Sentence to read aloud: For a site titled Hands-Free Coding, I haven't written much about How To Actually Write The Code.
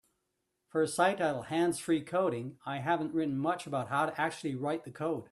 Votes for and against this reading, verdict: 2, 0, accepted